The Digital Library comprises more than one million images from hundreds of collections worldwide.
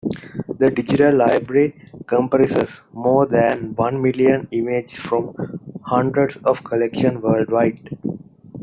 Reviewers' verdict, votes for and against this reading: rejected, 1, 2